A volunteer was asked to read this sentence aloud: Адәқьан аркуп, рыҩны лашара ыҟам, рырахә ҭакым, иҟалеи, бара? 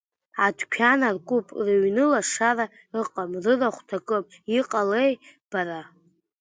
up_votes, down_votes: 2, 0